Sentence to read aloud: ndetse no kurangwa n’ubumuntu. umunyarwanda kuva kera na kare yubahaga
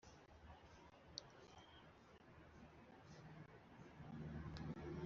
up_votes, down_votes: 1, 2